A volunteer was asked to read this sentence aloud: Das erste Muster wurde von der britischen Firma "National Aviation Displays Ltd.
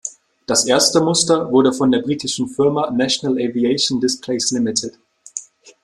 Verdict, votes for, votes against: rejected, 0, 2